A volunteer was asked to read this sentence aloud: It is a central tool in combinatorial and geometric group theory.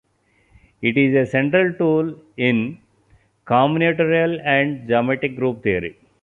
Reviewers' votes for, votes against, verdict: 2, 0, accepted